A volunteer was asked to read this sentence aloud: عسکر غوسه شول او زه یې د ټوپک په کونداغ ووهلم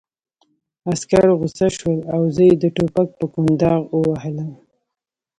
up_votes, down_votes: 2, 1